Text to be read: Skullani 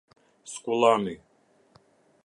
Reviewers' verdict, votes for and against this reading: accepted, 2, 0